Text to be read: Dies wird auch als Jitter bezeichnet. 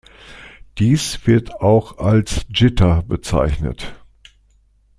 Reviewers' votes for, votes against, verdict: 2, 0, accepted